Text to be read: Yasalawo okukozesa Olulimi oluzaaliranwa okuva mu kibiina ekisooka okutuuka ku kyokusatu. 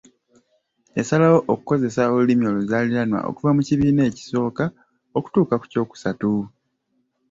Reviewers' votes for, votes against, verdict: 1, 2, rejected